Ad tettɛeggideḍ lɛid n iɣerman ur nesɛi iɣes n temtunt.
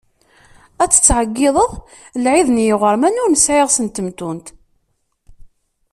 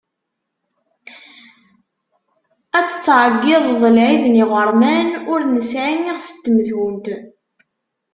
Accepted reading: first